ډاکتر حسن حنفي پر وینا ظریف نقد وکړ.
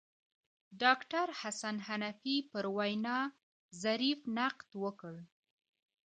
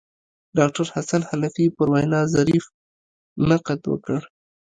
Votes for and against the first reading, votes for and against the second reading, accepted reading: 2, 0, 0, 2, first